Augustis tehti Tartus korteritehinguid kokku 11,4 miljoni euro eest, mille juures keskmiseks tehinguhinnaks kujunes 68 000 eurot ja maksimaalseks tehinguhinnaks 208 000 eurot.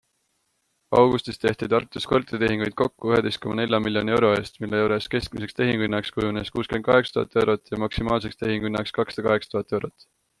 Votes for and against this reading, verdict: 0, 2, rejected